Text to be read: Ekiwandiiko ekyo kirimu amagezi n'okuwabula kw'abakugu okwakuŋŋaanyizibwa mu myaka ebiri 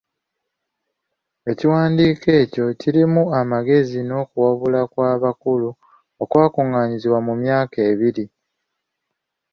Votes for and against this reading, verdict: 2, 1, accepted